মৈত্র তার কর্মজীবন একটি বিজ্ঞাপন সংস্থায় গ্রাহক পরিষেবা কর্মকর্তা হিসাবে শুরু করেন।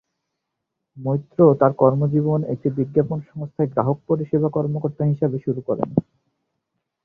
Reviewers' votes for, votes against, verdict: 4, 4, rejected